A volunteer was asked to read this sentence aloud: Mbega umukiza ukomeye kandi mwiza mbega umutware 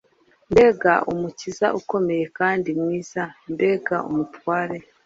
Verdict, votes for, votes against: accepted, 3, 0